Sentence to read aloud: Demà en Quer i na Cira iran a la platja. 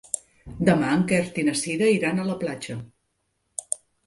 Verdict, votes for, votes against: accepted, 2, 0